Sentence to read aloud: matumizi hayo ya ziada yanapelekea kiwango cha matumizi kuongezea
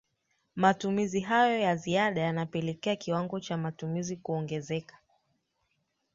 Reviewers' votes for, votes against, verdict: 2, 1, accepted